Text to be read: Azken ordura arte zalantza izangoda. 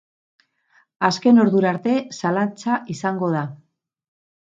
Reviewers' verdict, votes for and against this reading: rejected, 2, 2